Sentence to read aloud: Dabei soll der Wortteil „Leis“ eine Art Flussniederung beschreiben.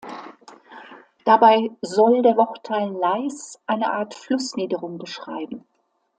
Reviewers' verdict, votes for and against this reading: accepted, 2, 0